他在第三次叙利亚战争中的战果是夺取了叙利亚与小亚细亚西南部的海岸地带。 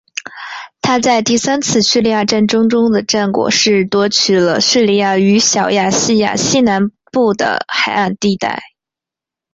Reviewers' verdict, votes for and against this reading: accepted, 2, 1